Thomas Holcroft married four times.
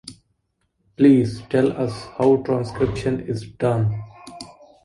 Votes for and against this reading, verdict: 0, 2, rejected